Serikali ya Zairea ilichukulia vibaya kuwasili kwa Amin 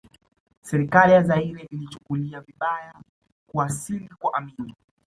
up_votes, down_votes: 2, 0